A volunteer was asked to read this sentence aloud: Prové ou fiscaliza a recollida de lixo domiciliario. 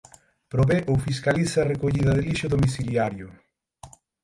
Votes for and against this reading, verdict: 12, 9, accepted